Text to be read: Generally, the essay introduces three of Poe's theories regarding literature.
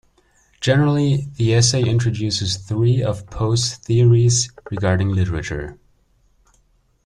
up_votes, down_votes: 2, 0